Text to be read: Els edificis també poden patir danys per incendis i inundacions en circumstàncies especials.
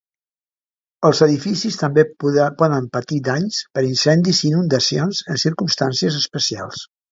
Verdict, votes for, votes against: rejected, 0, 2